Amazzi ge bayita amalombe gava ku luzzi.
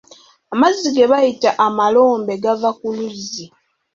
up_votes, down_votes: 2, 0